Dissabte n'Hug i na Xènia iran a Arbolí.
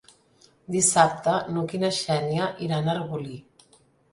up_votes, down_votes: 3, 0